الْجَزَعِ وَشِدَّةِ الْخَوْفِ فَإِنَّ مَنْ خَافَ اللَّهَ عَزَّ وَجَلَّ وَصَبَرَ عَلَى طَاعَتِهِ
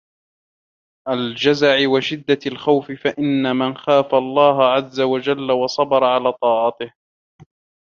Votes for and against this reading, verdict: 1, 2, rejected